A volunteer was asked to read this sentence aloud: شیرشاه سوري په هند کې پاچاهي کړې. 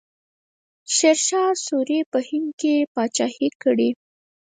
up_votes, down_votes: 2, 4